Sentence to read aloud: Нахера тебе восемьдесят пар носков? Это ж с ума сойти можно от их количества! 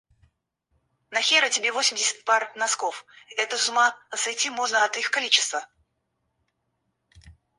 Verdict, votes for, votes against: rejected, 2, 4